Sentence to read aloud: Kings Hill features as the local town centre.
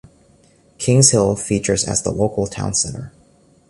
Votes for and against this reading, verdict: 2, 0, accepted